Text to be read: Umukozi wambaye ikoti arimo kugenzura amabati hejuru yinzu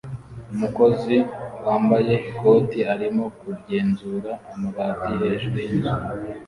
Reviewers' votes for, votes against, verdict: 2, 0, accepted